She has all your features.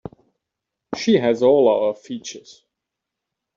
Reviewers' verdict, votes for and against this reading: rejected, 1, 2